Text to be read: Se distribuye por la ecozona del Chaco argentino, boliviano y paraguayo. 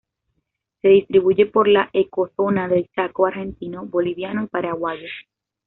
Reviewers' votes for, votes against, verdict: 2, 0, accepted